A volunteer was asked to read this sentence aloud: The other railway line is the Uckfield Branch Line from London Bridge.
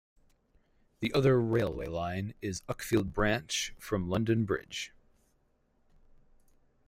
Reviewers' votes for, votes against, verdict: 2, 4, rejected